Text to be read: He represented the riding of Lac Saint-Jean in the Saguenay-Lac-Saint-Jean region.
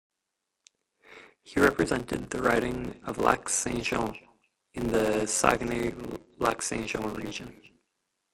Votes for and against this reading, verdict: 0, 2, rejected